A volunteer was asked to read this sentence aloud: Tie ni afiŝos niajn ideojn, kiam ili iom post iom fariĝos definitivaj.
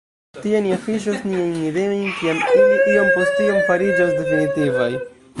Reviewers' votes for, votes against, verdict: 1, 2, rejected